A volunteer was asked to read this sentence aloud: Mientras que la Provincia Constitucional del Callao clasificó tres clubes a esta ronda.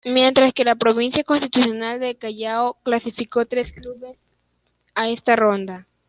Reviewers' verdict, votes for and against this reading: accepted, 2, 0